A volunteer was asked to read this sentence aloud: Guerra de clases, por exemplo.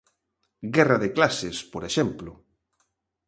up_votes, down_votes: 3, 0